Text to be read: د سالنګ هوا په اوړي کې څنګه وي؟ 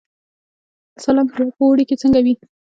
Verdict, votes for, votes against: rejected, 1, 3